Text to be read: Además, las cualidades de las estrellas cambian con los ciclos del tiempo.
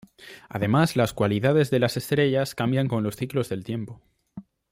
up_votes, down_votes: 2, 0